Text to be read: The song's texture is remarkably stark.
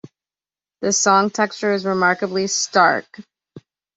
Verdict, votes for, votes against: rejected, 0, 2